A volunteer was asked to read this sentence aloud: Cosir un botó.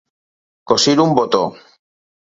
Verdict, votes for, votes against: accepted, 4, 0